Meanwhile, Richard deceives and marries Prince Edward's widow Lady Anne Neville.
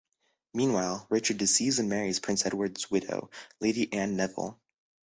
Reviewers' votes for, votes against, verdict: 2, 0, accepted